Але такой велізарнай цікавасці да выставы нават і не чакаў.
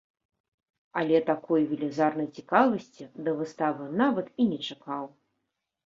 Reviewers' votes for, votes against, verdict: 2, 0, accepted